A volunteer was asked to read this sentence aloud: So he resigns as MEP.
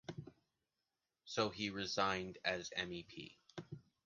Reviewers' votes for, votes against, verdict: 1, 2, rejected